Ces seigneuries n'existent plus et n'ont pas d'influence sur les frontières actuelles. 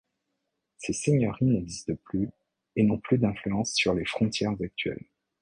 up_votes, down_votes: 1, 2